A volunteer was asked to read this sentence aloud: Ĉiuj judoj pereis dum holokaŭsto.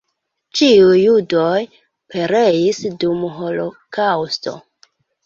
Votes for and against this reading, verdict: 2, 0, accepted